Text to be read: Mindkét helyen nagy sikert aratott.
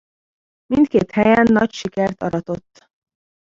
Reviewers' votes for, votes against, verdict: 1, 2, rejected